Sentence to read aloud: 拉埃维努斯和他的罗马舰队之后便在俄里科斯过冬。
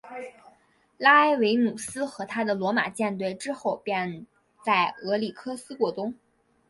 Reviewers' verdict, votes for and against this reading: accepted, 3, 1